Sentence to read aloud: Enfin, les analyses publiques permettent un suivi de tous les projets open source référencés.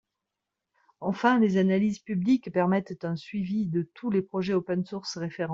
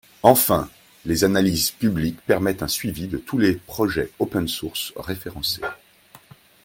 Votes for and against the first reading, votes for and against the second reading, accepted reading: 0, 2, 2, 0, second